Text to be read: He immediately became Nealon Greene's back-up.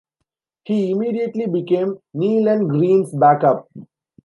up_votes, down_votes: 2, 0